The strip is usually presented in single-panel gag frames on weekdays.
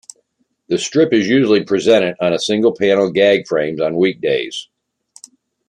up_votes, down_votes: 2, 1